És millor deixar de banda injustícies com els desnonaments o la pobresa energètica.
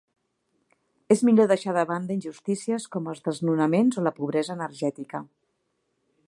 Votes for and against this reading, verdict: 2, 0, accepted